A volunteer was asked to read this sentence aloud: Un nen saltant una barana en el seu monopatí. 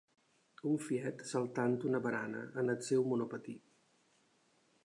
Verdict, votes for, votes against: rejected, 0, 2